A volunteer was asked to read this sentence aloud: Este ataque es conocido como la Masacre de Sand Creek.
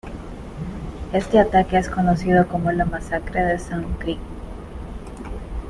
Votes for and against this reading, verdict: 2, 1, accepted